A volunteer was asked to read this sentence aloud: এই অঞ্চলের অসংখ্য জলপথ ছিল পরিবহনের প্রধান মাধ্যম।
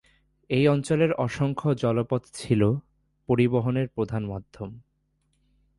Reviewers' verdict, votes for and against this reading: accepted, 2, 0